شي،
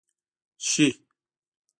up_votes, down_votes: 2, 0